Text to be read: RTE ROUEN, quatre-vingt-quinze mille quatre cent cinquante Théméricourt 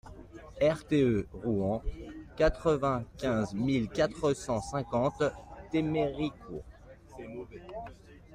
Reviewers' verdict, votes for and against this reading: accepted, 2, 0